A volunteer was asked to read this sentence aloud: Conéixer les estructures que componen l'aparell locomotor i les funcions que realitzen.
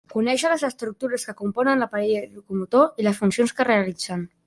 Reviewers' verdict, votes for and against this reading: rejected, 0, 2